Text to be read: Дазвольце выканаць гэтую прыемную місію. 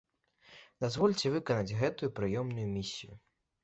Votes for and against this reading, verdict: 1, 2, rejected